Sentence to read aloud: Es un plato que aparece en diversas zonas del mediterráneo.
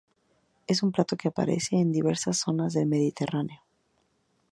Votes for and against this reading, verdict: 2, 0, accepted